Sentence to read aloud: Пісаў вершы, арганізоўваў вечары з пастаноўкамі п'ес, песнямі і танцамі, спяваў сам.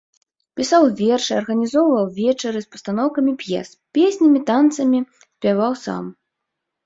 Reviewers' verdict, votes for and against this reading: rejected, 1, 2